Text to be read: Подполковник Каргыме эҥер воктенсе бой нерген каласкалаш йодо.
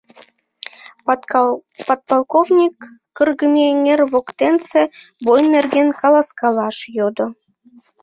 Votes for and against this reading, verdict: 0, 2, rejected